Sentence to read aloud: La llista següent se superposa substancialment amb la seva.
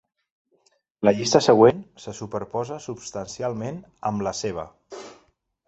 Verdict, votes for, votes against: accepted, 3, 0